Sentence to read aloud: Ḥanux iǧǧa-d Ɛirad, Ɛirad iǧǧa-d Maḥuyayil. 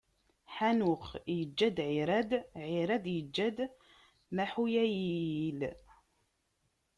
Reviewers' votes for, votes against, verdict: 0, 2, rejected